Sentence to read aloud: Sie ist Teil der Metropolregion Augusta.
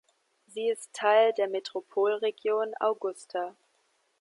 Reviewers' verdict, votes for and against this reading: accepted, 2, 1